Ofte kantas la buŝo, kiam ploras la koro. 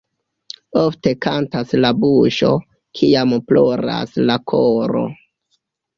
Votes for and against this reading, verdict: 1, 2, rejected